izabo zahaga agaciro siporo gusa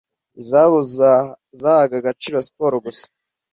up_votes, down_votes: 1, 2